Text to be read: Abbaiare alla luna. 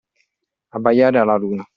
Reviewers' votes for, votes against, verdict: 2, 0, accepted